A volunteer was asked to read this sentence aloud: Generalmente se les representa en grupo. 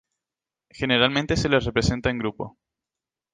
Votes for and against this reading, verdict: 2, 0, accepted